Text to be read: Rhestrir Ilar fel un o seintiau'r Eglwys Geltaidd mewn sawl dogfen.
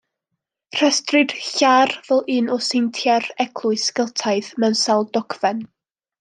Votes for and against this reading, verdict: 1, 2, rejected